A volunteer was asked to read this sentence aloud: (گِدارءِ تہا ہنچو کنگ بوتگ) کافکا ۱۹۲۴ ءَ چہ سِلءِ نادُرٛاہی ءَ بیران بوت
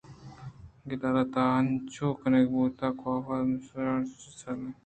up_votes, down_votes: 0, 2